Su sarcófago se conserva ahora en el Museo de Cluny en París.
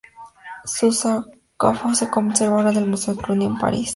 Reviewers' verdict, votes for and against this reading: accepted, 2, 0